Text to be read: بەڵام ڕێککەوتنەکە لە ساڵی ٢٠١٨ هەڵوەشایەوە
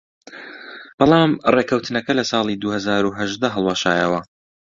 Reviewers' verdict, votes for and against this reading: rejected, 0, 2